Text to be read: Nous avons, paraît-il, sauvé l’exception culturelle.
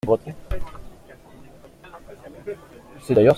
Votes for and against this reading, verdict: 0, 2, rejected